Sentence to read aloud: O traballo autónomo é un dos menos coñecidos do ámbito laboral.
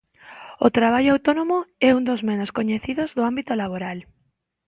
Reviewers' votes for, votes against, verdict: 2, 0, accepted